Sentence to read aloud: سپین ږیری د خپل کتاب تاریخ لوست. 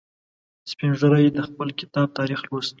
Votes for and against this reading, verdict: 2, 0, accepted